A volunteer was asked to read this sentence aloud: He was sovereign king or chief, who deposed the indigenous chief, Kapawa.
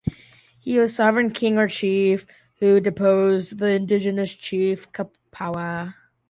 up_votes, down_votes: 2, 0